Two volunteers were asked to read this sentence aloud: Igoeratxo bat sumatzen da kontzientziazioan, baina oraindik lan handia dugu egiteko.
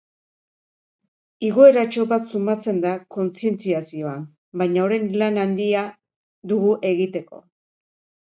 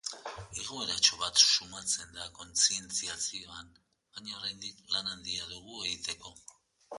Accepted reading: second